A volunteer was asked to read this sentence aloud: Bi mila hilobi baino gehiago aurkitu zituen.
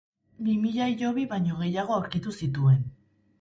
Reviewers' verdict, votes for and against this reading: rejected, 2, 2